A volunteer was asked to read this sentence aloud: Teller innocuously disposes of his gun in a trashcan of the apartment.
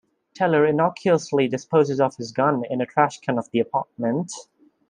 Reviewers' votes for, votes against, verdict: 2, 0, accepted